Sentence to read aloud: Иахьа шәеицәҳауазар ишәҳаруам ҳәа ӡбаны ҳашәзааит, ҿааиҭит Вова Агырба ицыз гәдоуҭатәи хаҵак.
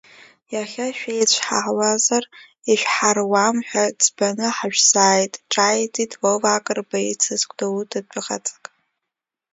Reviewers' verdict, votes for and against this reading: rejected, 0, 2